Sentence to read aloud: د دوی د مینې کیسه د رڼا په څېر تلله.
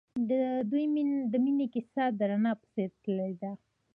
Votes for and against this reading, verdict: 1, 2, rejected